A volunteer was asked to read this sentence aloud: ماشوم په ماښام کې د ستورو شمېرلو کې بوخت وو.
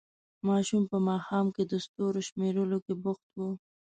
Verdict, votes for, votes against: accepted, 2, 0